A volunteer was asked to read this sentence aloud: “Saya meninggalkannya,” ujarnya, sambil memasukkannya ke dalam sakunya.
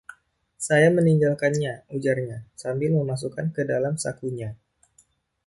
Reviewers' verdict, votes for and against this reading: accepted, 2, 0